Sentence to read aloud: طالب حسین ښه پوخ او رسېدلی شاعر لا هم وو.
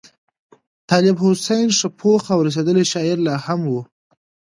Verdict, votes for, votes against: accepted, 2, 0